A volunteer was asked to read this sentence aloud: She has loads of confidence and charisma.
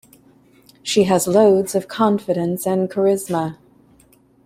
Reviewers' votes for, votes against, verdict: 2, 0, accepted